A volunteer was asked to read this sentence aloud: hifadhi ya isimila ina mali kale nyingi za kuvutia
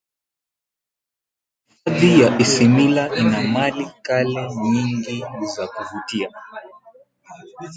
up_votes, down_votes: 2, 3